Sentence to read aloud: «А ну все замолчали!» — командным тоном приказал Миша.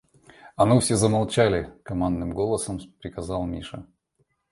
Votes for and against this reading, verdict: 1, 2, rejected